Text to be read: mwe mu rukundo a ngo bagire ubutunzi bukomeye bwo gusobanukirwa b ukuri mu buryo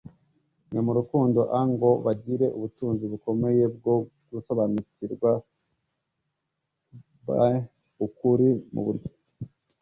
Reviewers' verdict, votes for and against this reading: accepted, 2, 0